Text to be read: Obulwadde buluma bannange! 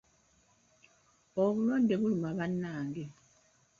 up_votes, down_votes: 2, 1